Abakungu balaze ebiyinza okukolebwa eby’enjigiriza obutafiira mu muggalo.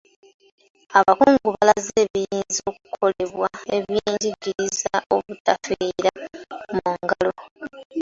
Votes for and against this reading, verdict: 0, 2, rejected